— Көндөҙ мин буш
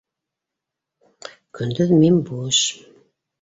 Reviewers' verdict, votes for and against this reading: accepted, 2, 0